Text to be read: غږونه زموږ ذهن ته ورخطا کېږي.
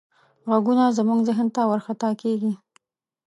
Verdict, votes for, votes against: accepted, 2, 0